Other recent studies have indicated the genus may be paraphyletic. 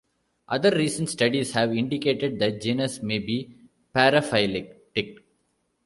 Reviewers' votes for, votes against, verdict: 0, 2, rejected